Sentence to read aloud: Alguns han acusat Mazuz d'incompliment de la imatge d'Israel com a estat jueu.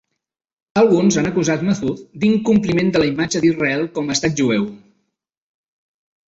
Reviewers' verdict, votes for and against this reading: rejected, 0, 2